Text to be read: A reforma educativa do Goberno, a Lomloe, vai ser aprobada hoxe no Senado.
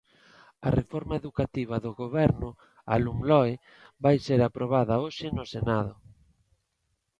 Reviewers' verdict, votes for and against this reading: accepted, 2, 0